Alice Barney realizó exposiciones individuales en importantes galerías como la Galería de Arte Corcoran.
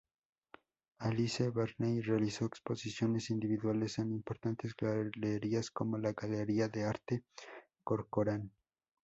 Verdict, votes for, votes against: accepted, 2, 0